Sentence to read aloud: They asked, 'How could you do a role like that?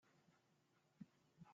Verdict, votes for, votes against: rejected, 0, 2